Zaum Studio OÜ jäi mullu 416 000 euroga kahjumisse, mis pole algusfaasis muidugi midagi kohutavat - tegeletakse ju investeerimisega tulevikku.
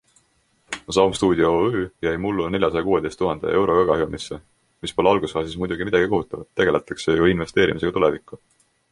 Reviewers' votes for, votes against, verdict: 0, 2, rejected